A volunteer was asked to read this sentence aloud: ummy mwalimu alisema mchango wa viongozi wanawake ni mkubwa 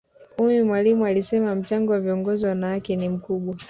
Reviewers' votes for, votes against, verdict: 2, 0, accepted